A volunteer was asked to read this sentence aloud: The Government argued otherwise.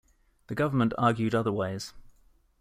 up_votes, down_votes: 2, 0